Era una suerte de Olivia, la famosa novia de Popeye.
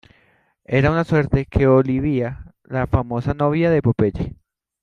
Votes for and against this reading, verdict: 1, 2, rejected